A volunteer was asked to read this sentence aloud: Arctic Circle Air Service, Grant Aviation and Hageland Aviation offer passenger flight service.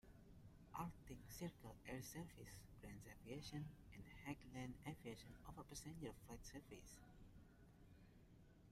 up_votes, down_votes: 1, 2